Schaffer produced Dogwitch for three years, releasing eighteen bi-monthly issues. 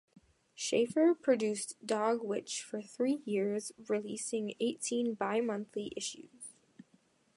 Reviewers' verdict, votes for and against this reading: accepted, 2, 0